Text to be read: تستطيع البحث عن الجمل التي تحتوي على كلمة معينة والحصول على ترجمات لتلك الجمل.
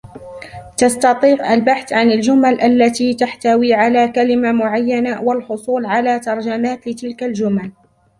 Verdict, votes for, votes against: rejected, 1, 2